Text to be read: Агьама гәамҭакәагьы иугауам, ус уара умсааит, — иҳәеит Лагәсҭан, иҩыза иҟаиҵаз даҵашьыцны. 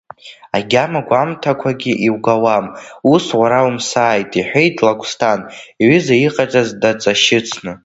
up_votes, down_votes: 1, 2